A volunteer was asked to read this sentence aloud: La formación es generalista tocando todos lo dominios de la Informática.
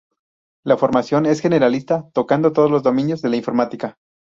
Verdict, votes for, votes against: rejected, 0, 2